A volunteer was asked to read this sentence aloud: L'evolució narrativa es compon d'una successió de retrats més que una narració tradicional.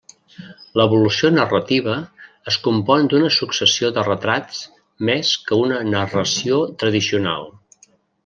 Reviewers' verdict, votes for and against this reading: accepted, 3, 0